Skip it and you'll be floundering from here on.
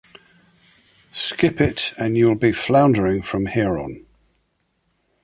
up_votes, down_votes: 2, 0